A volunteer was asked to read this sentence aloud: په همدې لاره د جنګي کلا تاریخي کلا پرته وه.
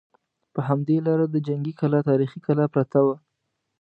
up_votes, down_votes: 2, 0